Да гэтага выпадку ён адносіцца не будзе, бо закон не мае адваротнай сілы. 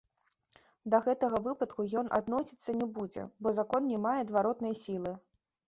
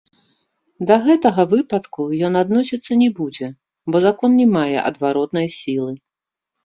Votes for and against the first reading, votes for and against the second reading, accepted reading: 2, 1, 0, 3, first